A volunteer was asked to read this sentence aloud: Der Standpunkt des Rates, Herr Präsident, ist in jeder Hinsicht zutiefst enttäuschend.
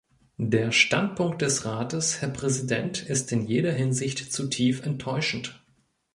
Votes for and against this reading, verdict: 0, 2, rejected